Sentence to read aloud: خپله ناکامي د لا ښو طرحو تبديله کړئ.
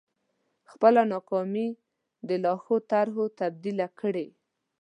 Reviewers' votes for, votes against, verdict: 1, 2, rejected